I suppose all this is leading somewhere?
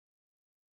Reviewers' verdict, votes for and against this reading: rejected, 0, 2